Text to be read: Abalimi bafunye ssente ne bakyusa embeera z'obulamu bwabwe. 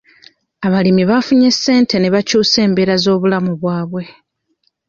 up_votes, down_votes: 0, 2